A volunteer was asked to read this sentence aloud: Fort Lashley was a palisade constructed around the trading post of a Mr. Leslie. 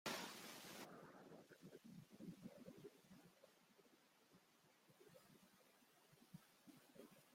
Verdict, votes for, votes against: rejected, 0, 2